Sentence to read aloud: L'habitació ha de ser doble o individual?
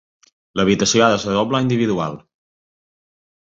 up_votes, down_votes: 1, 2